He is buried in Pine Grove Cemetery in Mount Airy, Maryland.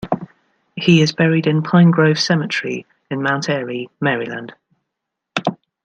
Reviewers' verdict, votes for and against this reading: rejected, 1, 2